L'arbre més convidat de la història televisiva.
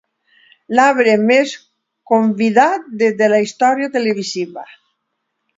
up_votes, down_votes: 0, 2